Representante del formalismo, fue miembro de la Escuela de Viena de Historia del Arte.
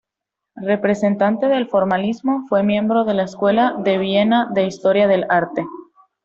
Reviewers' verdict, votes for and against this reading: accepted, 2, 0